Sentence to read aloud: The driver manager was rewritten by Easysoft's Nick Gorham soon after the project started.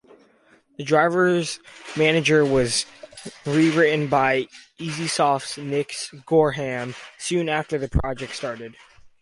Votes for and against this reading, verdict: 0, 2, rejected